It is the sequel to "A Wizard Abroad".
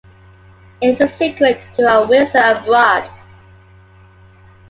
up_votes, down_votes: 2, 1